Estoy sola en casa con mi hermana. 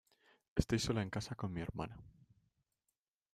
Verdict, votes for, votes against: rejected, 0, 2